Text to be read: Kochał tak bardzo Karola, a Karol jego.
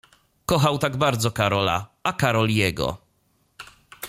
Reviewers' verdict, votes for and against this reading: accepted, 2, 0